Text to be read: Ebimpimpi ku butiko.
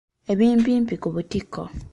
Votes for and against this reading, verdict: 2, 0, accepted